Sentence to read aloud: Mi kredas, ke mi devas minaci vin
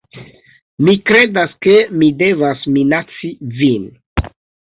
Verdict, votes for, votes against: accepted, 2, 0